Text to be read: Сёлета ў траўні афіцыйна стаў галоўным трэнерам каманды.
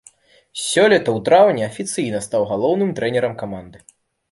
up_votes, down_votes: 2, 0